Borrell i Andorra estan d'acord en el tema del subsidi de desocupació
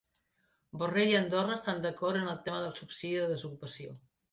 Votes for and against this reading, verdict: 1, 2, rejected